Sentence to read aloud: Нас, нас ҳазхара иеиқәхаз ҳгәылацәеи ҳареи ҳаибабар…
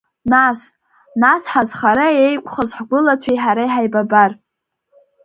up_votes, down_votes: 3, 0